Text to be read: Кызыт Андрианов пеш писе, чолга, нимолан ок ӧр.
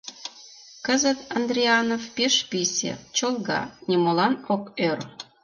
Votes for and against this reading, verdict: 2, 0, accepted